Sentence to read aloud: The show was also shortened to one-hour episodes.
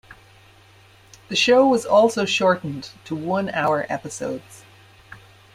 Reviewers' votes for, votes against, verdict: 2, 0, accepted